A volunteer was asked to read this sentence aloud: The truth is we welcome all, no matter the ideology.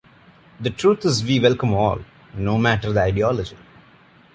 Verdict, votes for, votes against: accepted, 2, 0